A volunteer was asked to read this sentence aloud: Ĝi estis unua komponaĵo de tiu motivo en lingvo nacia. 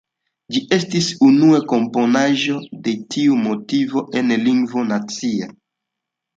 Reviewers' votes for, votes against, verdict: 2, 0, accepted